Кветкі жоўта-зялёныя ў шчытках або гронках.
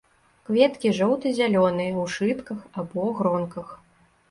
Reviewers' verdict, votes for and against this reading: rejected, 1, 2